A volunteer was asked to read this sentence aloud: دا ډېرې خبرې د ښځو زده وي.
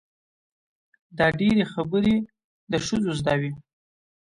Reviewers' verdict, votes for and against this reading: accepted, 2, 0